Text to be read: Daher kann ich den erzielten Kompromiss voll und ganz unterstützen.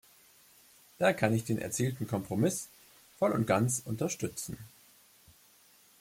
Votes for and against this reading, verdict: 0, 2, rejected